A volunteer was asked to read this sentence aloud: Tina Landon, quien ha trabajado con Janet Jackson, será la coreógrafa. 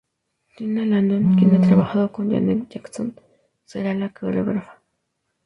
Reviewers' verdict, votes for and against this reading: accepted, 4, 0